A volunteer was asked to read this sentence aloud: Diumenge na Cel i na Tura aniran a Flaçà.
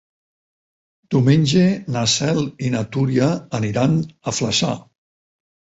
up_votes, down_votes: 0, 4